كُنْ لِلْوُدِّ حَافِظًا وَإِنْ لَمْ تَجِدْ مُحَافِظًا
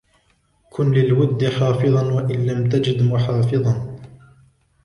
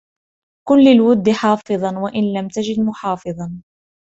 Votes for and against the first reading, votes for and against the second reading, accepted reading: 1, 2, 2, 0, second